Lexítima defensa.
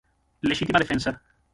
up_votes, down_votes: 0, 6